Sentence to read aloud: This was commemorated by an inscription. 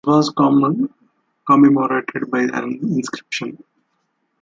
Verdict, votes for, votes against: rejected, 0, 2